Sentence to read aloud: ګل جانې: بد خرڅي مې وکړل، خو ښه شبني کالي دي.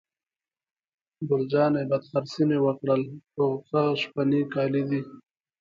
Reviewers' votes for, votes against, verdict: 2, 1, accepted